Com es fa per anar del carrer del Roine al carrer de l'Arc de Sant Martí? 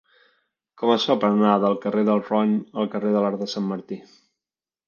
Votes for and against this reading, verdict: 1, 2, rejected